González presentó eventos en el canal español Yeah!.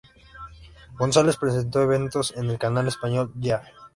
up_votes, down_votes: 2, 0